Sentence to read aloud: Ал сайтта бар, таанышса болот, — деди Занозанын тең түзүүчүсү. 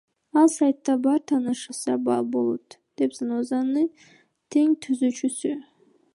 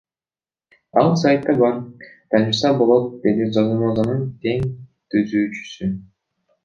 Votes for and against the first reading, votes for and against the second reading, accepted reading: 2, 1, 1, 2, first